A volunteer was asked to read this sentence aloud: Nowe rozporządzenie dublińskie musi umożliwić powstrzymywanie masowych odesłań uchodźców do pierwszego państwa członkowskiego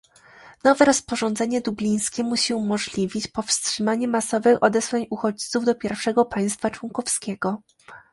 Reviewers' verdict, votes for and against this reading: rejected, 1, 2